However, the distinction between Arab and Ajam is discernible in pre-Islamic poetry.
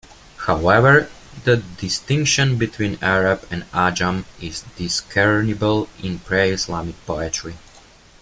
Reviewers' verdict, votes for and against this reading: accepted, 2, 1